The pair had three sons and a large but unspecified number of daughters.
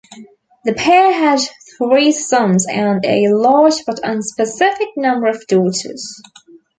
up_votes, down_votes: 0, 2